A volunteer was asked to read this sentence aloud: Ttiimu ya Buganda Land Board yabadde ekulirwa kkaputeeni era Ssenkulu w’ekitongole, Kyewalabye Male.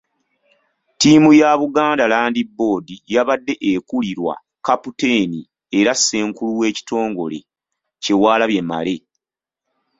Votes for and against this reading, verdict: 2, 1, accepted